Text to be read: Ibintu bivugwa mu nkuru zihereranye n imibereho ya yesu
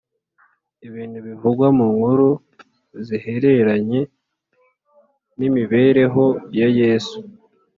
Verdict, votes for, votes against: accepted, 3, 0